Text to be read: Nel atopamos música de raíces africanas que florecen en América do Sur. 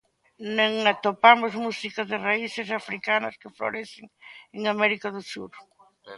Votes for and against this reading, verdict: 1, 2, rejected